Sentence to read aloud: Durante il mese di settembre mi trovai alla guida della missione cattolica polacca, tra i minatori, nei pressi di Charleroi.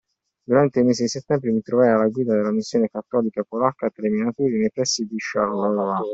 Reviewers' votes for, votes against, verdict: 2, 1, accepted